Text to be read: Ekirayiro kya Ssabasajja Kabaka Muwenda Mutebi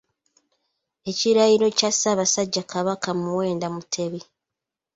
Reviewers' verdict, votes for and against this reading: accepted, 2, 0